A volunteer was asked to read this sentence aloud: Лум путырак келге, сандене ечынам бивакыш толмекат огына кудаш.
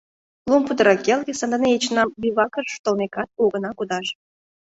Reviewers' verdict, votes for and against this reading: rejected, 0, 2